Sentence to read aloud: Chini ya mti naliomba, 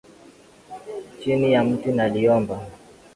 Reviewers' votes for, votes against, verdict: 3, 0, accepted